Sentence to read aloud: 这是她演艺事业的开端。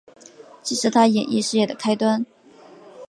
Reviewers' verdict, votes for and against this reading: accepted, 2, 0